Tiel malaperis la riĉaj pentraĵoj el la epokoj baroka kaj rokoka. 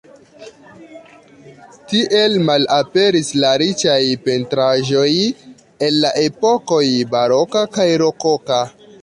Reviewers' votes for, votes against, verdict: 1, 2, rejected